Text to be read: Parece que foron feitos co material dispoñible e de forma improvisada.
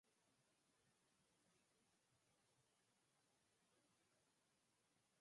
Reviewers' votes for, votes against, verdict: 0, 4, rejected